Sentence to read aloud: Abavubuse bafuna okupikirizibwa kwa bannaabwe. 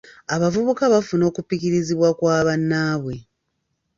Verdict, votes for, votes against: rejected, 0, 2